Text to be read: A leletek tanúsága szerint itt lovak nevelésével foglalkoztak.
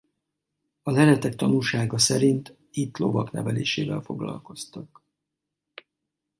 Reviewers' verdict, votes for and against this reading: accepted, 2, 0